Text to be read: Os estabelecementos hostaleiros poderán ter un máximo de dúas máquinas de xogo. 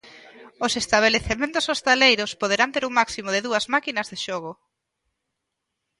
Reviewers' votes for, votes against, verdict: 2, 0, accepted